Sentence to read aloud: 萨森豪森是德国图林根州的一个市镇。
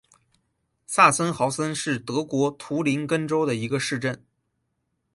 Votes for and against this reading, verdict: 10, 2, accepted